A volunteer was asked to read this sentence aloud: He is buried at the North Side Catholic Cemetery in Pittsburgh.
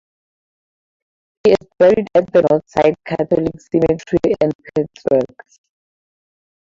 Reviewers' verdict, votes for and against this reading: rejected, 0, 2